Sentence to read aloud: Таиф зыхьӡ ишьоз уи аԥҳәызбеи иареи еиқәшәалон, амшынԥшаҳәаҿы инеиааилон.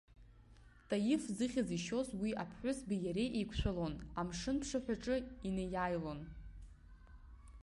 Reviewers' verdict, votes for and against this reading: accepted, 2, 0